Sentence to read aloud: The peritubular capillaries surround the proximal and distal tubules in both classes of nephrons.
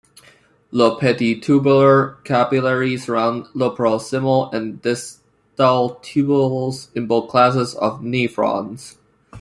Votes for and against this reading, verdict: 1, 2, rejected